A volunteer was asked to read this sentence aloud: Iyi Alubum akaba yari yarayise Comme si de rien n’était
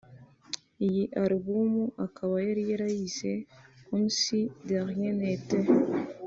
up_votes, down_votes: 2, 1